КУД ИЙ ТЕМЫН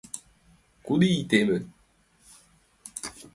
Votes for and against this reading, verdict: 2, 1, accepted